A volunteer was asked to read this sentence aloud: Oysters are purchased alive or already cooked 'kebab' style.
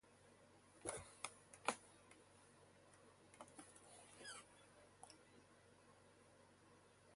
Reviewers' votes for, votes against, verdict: 2, 2, rejected